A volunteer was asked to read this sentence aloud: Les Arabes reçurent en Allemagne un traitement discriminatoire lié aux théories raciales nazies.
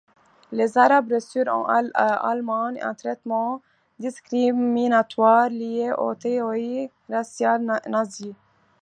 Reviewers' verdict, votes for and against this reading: rejected, 1, 2